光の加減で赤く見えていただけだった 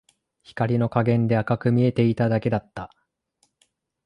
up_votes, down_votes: 2, 0